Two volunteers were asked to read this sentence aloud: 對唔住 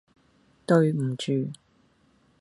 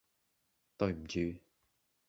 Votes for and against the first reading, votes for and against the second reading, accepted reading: 2, 0, 0, 2, first